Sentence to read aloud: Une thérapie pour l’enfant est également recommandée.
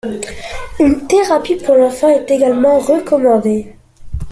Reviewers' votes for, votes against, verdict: 2, 1, accepted